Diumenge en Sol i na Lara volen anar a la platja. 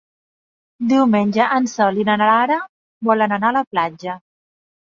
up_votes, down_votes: 0, 2